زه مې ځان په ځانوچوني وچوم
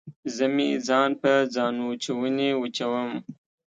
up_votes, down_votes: 2, 0